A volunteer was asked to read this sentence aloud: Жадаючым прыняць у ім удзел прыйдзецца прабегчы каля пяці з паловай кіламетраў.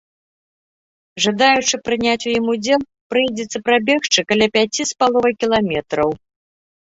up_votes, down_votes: 0, 2